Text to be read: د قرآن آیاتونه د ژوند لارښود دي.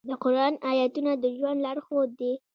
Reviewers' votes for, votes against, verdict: 2, 0, accepted